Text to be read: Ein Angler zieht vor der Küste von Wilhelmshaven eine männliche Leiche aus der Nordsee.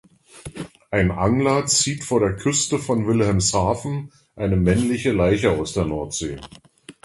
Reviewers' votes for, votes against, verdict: 2, 0, accepted